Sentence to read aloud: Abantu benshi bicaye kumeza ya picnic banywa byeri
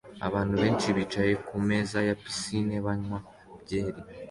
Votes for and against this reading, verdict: 2, 0, accepted